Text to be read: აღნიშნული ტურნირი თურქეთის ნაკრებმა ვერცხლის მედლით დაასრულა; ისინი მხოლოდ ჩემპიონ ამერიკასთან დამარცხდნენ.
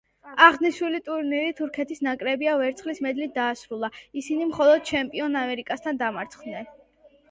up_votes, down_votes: 1, 2